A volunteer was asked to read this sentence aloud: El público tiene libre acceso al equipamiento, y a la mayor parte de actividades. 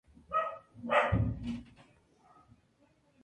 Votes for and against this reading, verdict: 0, 2, rejected